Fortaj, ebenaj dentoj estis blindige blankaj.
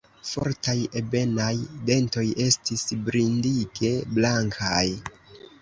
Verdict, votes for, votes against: rejected, 1, 2